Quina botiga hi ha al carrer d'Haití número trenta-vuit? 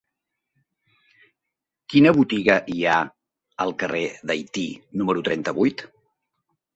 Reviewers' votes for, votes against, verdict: 4, 0, accepted